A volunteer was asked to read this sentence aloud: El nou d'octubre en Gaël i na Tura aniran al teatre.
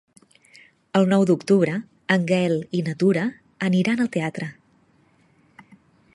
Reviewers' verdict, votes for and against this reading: accepted, 2, 0